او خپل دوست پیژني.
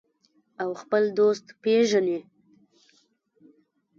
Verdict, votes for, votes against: rejected, 1, 2